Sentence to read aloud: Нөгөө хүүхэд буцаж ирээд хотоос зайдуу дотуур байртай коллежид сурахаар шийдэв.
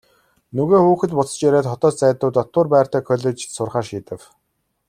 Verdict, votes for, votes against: accepted, 2, 0